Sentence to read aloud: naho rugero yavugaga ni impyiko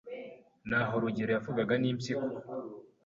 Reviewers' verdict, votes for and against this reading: accepted, 2, 0